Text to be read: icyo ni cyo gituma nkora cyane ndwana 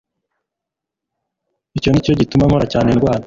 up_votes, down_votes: 2, 0